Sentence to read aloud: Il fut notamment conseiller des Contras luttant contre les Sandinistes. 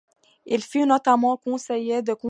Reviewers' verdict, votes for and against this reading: rejected, 0, 2